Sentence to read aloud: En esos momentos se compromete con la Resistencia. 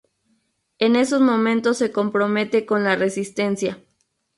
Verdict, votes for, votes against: accepted, 2, 0